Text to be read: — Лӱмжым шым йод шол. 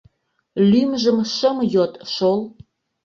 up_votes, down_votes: 2, 0